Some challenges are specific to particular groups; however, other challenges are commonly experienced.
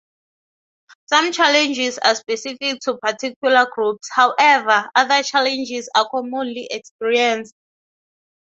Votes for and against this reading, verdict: 6, 0, accepted